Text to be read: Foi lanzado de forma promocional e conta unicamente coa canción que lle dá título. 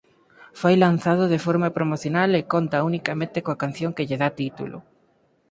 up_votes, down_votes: 4, 2